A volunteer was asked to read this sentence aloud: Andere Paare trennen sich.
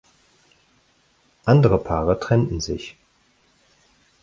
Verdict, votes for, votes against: rejected, 2, 4